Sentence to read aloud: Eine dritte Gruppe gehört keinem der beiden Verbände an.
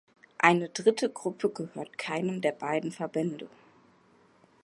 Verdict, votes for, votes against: rejected, 0, 2